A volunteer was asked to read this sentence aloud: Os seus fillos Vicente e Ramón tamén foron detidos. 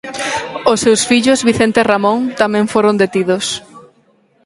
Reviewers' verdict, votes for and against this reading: rejected, 2, 4